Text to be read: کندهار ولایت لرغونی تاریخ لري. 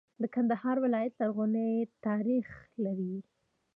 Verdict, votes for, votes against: rejected, 1, 2